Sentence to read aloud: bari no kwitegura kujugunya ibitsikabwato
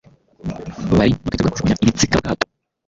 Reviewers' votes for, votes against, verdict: 0, 2, rejected